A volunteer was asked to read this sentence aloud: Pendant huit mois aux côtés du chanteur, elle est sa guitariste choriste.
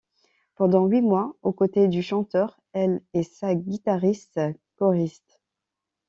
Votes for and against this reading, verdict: 1, 2, rejected